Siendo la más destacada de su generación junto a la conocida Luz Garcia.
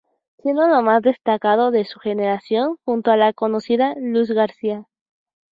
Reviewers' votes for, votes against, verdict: 2, 2, rejected